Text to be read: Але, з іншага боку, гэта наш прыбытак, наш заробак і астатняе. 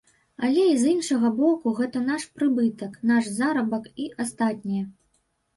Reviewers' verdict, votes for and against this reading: rejected, 1, 2